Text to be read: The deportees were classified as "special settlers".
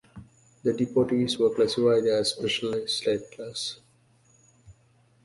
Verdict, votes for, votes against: accepted, 2, 0